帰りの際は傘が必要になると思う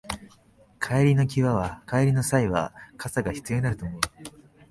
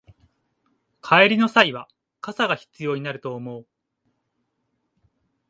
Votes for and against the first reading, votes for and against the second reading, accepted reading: 1, 2, 2, 0, second